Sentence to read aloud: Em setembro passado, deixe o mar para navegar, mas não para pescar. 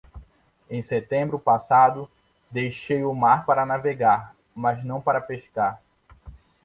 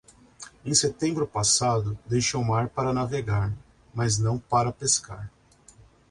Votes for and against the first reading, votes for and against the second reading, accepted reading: 0, 2, 2, 0, second